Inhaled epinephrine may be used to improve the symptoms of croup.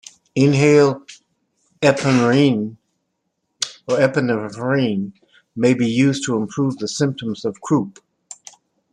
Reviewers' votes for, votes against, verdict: 0, 2, rejected